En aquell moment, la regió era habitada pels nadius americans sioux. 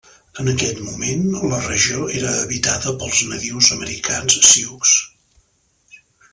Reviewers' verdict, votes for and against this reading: accepted, 2, 0